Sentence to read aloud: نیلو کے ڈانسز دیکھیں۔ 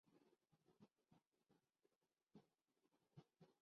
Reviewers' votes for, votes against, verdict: 1, 3, rejected